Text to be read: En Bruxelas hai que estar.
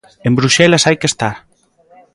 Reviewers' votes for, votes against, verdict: 1, 2, rejected